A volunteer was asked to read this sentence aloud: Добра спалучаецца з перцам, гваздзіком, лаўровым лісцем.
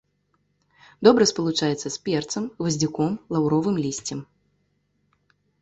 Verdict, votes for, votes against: accepted, 2, 0